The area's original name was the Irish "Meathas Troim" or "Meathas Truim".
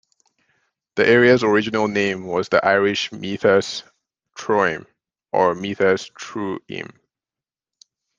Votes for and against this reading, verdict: 2, 0, accepted